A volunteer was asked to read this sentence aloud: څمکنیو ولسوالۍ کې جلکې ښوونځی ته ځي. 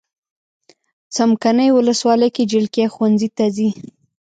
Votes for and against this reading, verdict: 1, 2, rejected